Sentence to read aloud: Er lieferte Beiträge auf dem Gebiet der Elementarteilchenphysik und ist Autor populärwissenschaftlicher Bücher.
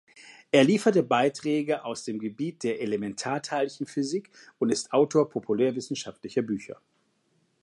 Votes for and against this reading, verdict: 0, 2, rejected